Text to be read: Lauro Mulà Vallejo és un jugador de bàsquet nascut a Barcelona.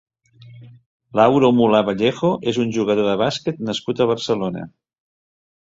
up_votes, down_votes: 3, 0